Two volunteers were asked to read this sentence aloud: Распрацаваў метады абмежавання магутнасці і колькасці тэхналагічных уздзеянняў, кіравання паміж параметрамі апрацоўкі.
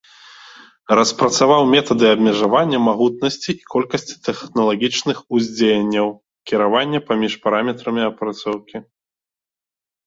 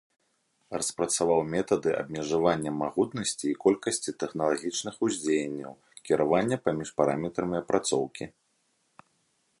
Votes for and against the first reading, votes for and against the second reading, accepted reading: 1, 2, 2, 0, second